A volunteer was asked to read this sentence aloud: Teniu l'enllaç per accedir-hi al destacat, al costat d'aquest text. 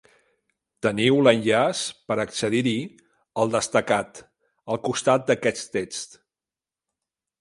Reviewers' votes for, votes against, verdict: 2, 1, accepted